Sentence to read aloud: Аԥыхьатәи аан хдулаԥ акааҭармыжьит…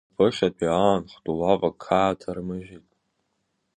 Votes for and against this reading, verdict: 1, 2, rejected